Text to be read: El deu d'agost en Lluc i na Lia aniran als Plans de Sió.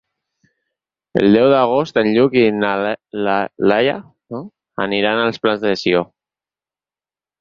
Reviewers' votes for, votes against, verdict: 0, 4, rejected